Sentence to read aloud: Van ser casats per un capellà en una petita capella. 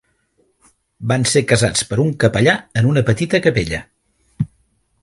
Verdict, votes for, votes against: accepted, 3, 0